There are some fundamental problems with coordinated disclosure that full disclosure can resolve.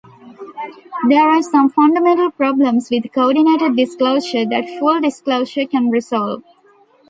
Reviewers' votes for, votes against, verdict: 2, 0, accepted